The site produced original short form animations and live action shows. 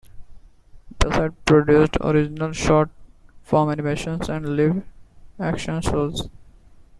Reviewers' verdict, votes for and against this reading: rejected, 1, 2